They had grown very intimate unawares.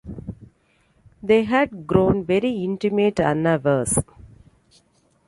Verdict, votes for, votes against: rejected, 1, 2